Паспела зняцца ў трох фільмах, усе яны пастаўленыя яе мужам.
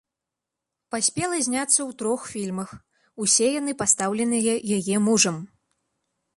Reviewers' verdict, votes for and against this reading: accepted, 2, 0